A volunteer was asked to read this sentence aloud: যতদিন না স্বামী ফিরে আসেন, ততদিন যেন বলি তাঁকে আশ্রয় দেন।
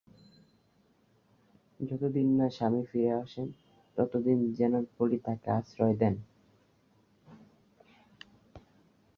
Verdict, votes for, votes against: rejected, 0, 2